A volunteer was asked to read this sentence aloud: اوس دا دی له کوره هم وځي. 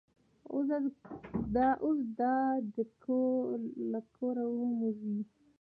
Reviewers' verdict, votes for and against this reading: accepted, 2, 1